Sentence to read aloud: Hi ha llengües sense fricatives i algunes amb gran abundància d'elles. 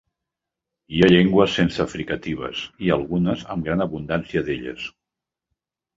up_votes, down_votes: 3, 0